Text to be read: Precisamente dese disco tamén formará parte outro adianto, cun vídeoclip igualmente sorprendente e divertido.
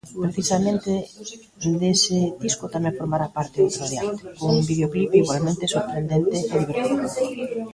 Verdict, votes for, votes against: rejected, 1, 2